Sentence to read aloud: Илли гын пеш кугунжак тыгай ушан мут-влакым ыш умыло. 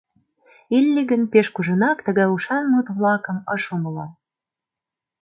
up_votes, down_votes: 1, 2